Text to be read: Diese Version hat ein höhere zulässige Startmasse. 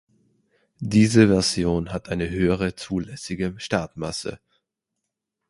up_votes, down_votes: 2, 0